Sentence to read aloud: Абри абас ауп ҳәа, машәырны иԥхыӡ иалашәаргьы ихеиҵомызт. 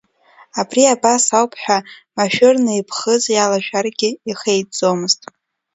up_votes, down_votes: 2, 0